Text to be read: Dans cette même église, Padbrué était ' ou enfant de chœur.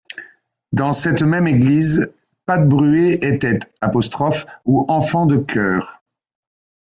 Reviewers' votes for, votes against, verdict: 1, 2, rejected